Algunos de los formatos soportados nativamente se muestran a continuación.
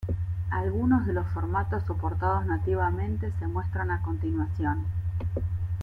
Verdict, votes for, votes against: rejected, 2, 3